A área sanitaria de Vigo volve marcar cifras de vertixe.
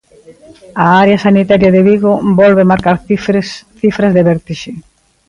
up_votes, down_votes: 0, 2